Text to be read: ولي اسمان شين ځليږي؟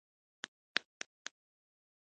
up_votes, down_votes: 0, 2